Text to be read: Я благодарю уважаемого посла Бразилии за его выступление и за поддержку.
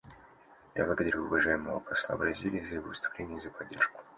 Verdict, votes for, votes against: accepted, 2, 1